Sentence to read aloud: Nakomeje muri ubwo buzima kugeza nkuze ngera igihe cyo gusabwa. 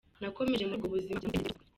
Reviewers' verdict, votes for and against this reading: rejected, 0, 2